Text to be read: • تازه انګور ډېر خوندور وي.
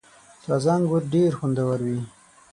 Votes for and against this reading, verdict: 6, 0, accepted